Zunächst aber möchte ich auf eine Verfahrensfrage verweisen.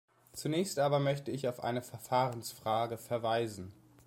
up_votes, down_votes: 2, 0